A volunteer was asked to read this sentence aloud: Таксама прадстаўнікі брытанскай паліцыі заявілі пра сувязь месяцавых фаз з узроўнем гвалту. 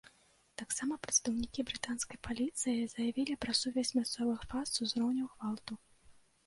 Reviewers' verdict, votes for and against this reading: rejected, 1, 2